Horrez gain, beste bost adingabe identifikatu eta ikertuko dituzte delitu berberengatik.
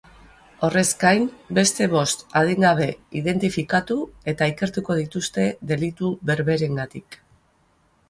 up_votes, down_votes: 4, 0